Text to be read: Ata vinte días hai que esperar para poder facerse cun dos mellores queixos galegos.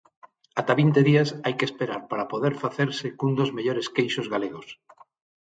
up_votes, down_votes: 6, 0